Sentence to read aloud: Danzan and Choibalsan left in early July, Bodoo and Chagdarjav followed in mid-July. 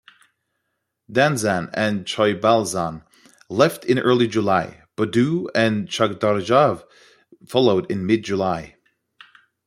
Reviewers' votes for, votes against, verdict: 2, 0, accepted